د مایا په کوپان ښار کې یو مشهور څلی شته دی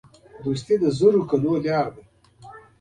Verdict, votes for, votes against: rejected, 0, 2